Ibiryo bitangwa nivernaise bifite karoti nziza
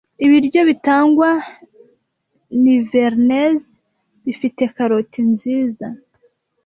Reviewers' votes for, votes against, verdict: 2, 0, accepted